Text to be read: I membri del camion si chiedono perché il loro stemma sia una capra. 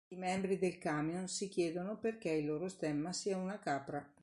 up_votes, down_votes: 2, 0